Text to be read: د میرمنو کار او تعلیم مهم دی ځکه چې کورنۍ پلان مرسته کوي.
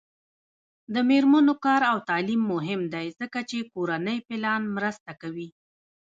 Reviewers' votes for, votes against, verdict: 1, 2, rejected